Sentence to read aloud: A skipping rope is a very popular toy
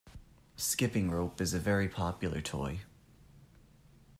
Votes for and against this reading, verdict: 0, 2, rejected